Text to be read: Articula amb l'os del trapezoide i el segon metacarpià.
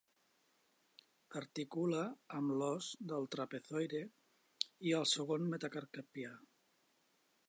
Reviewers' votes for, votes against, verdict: 1, 2, rejected